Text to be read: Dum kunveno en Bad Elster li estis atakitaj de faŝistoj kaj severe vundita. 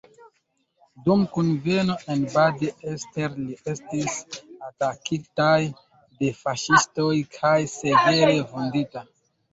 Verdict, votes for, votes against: rejected, 1, 2